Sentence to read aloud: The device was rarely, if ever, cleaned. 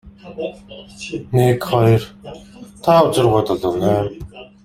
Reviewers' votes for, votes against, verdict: 0, 2, rejected